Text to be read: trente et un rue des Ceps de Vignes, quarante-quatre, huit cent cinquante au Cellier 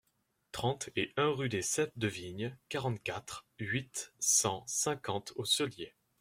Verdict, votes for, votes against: accepted, 2, 0